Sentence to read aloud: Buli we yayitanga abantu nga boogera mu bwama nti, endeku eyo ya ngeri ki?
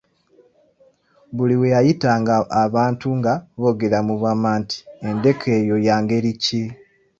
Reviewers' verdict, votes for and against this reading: accepted, 2, 0